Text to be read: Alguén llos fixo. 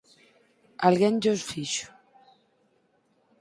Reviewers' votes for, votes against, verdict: 4, 0, accepted